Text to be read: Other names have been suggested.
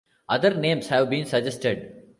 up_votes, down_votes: 2, 0